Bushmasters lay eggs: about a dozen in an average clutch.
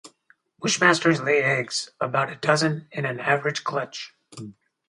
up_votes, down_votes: 2, 2